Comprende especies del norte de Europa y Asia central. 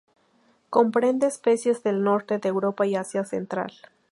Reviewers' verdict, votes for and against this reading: accepted, 4, 0